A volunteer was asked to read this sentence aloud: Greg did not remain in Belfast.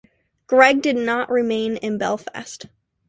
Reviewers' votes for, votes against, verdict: 2, 0, accepted